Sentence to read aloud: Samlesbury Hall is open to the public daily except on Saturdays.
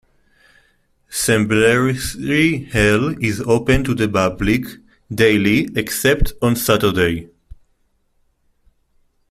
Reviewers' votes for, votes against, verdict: 0, 2, rejected